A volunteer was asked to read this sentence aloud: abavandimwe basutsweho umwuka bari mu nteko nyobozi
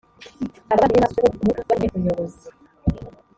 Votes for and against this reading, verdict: 0, 2, rejected